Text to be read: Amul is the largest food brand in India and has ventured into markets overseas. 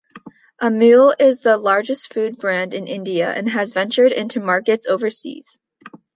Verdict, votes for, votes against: accepted, 2, 0